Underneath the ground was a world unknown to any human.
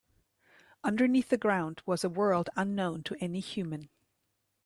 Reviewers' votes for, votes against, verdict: 2, 0, accepted